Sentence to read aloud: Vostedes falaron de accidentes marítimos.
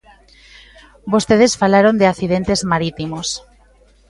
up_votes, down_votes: 2, 0